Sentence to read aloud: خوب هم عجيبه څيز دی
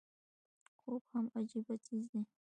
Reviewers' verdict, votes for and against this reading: accepted, 2, 0